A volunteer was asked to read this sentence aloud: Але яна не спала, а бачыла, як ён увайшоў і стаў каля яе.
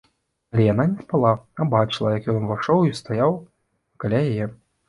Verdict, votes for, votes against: rejected, 0, 2